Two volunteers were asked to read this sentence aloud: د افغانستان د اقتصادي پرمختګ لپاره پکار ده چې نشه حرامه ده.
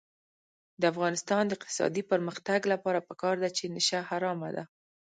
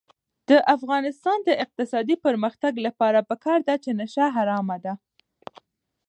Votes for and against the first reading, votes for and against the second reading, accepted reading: 1, 2, 4, 1, second